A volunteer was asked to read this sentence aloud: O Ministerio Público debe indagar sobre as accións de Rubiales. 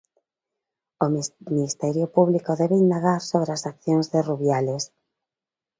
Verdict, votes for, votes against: rejected, 0, 2